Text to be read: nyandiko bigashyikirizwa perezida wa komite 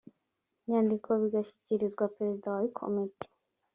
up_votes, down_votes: 2, 0